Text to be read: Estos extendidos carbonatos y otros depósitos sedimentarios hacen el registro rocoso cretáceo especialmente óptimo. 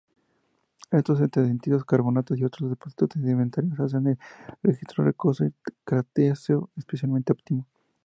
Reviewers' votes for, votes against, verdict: 2, 0, accepted